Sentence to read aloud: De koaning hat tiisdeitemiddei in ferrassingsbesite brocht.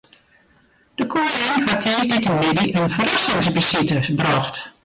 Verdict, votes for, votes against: rejected, 0, 2